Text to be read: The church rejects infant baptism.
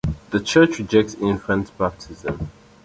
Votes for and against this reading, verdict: 2, 0, accepted